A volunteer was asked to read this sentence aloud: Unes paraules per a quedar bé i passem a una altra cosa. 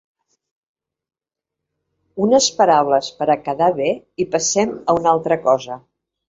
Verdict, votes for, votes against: accepted, 2, 0